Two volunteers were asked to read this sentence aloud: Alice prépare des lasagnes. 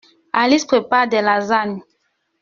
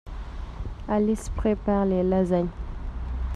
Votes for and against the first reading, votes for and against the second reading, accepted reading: 2, 0, 1, 2, first